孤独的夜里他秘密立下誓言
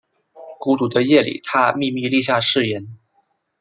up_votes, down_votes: 2, 0